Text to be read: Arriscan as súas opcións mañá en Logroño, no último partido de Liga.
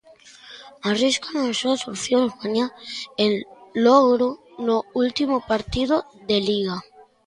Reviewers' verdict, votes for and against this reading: rejected, 0, 2